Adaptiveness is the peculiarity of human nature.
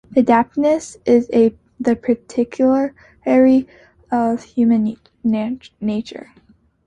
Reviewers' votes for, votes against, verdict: 0, 2, rejected